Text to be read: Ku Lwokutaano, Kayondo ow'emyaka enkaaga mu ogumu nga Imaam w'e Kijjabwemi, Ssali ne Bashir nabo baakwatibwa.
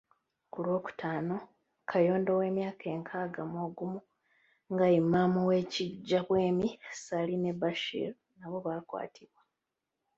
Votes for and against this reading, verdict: 0, 2, rejected